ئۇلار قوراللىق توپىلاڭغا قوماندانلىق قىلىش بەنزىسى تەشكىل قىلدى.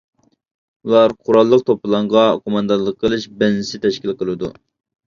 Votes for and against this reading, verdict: 0, 2, rejected